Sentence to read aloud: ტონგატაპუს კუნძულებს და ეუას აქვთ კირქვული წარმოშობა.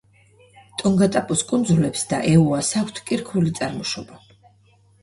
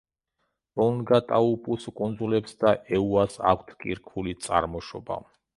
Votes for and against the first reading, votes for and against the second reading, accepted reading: 2, 0, 0, 2, first